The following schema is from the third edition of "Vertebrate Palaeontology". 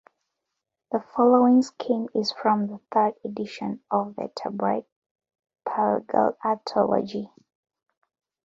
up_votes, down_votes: 0, 2